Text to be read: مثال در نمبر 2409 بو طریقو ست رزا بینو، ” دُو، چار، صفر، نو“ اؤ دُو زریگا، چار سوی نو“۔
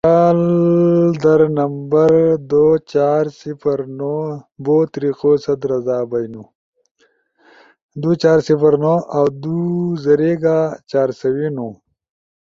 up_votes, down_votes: 0, 2